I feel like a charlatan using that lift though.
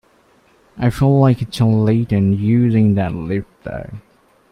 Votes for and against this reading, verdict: 1, 2, rejected